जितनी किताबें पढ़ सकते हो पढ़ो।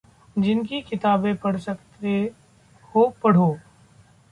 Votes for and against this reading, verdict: 0, 2, rejected